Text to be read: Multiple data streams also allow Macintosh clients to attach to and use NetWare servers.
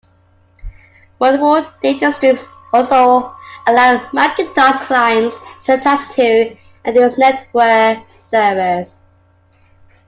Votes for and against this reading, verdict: 2, 0, accepted